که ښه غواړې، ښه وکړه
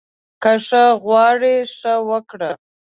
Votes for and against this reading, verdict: 2, 0, accepted